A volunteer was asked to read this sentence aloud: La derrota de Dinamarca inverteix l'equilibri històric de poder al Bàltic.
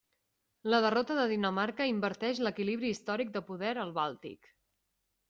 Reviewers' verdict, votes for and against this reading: accepted, 3, 0